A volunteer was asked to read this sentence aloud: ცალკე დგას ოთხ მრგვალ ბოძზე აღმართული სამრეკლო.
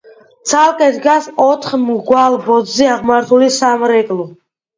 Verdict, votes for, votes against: accepted, 2, 0